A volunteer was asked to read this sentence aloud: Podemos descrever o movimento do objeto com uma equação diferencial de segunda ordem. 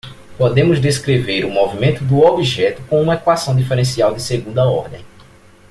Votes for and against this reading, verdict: 2, 0, accepted